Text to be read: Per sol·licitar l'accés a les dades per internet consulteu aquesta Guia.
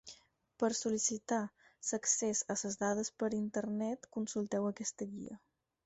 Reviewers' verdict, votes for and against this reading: rejected, 2, 4